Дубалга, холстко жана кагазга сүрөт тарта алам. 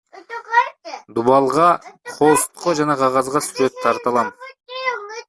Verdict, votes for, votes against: rejected, 1, 2